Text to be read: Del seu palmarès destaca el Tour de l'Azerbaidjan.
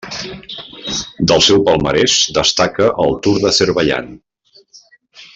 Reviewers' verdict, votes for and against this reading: rejected, 0, 2